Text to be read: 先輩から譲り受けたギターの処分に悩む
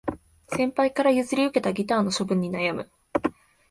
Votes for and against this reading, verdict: 2, 0, accepted